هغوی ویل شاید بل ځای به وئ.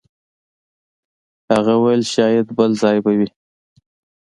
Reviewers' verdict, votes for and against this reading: accepted, 2, 0